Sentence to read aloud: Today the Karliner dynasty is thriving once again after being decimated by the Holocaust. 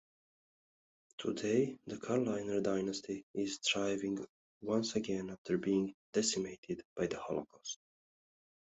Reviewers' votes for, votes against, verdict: 1, 2, rejected